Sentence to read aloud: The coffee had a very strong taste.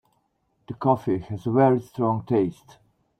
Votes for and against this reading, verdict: 0, 2, rejected